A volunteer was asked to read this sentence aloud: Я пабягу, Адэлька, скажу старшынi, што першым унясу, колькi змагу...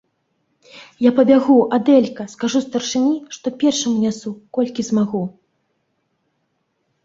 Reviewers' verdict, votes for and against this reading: accepted, 2, 0